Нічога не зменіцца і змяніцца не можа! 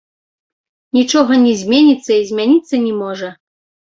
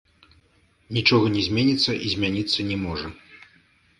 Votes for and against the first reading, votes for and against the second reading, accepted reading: 2, 1, 1, 3, first